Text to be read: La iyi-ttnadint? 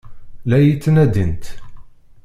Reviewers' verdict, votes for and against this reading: rejected, 0, 2